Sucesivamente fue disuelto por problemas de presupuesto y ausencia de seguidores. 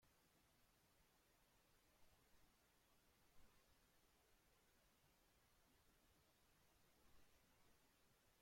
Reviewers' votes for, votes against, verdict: 0, 2, rejected